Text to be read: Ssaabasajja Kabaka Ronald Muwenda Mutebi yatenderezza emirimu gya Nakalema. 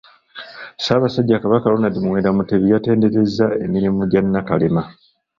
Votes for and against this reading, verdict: 0, 2, rejected